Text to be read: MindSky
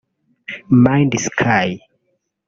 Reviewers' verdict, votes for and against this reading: rejected, 1, 2